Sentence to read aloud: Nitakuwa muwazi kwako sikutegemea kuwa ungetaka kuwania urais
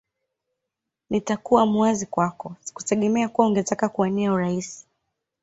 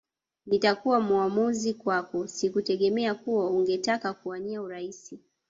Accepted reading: first